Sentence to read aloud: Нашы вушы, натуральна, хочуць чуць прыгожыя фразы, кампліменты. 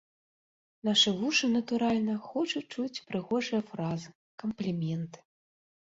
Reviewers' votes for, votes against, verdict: 2, 0, accepted